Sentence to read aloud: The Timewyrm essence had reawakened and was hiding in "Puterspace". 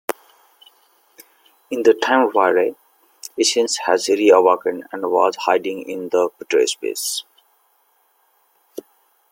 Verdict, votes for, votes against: rejected, 1, 2